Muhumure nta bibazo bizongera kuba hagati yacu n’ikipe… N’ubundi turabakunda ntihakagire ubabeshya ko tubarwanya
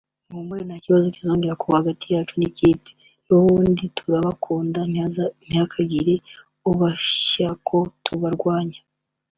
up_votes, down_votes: 0, 2